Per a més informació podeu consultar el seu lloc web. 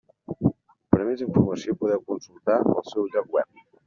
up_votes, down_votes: 1, 2